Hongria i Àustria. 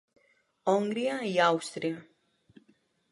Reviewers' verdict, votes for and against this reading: rejected, 0, 2